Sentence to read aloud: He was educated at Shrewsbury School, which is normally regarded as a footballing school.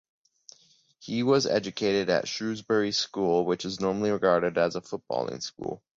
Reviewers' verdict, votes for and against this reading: accepted, 2, 0